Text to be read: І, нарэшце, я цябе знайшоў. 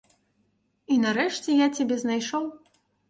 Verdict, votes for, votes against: accepted, 2, 0